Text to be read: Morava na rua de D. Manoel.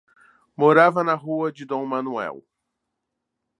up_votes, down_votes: 2, 0